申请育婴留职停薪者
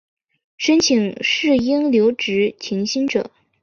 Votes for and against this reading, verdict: 2, 0, accepted